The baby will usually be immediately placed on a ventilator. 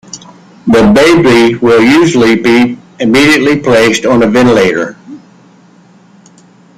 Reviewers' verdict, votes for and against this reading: rejected, 1, 2